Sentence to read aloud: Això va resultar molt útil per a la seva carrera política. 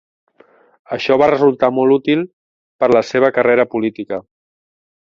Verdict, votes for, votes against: rejected, 0, 2